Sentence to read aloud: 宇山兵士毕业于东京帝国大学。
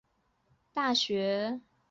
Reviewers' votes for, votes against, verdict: 0, 2, rejected